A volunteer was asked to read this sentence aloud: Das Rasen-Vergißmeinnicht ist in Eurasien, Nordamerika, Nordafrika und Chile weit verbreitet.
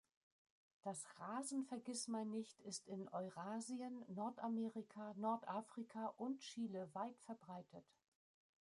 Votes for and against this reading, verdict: 1, 2, rejected